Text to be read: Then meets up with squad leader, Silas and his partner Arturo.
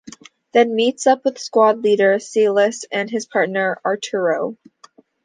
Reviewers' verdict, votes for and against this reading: accepted, 2, 0